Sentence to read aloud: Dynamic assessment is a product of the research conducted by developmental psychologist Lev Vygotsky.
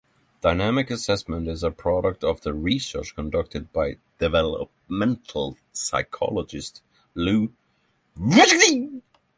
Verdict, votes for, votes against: rejected, 3, 3